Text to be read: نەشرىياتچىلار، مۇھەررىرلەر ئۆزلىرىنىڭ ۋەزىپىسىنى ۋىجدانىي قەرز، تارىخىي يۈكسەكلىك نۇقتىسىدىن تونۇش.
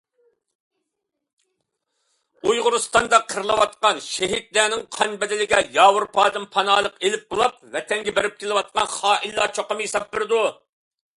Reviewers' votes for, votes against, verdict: 0, 2, rejected